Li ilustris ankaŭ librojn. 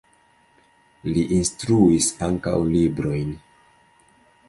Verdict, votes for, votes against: rejected, 0, 2